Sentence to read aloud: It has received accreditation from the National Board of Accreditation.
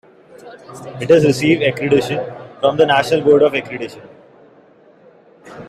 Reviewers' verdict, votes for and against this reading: accepted, 2, 0